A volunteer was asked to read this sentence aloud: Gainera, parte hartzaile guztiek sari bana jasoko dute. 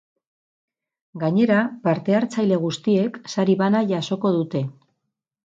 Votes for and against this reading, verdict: 4, 0, accepted